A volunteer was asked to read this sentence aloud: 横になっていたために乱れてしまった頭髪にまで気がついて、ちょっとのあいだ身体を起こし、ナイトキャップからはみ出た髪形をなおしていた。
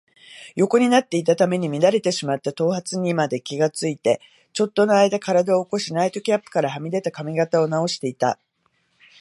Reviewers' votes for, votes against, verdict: 2, 0, accepted